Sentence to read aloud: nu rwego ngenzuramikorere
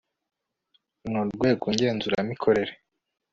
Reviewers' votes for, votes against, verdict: 3, 0, accepted